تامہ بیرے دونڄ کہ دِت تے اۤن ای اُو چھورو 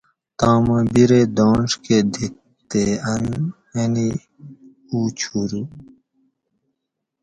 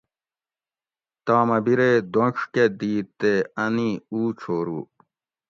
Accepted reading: second